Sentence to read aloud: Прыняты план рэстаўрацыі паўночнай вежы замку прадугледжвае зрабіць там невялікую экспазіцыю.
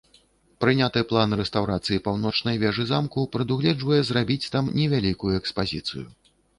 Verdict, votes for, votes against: accepted, 2, 0